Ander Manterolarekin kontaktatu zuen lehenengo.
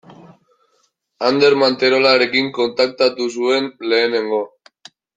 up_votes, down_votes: 2, 0